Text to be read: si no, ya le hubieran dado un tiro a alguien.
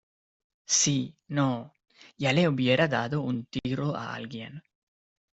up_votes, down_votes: 2, 1